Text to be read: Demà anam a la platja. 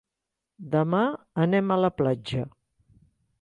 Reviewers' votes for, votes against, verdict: 1, 2, rejected